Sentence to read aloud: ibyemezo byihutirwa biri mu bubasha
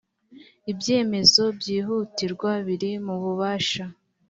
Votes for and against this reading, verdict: 2, 0, accepted